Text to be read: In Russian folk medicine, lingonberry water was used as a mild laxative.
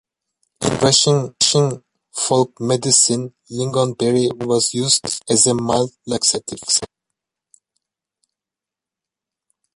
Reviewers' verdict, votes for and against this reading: rejected, 1, 2